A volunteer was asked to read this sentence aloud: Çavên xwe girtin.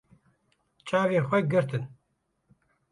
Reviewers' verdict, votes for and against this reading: rejected, 0, 2